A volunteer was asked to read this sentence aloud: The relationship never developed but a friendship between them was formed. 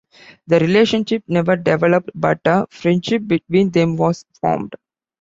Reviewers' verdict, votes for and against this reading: accepted, 2, 0